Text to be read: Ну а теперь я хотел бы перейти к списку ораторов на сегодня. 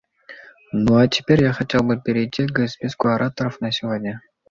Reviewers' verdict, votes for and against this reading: accepted, 2, 0